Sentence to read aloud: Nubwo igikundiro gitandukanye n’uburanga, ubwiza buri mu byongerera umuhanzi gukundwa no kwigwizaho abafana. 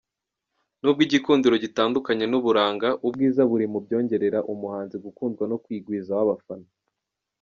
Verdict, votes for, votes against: accepted, 2, 0